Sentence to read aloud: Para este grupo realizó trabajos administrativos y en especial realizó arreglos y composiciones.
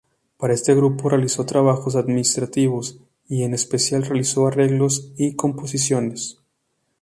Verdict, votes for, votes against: accepted, 4, 0